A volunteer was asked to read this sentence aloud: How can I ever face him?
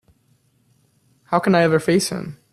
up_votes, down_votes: 2, 0